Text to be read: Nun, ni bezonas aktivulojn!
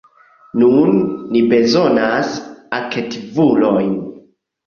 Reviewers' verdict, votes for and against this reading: rejected, 1, 2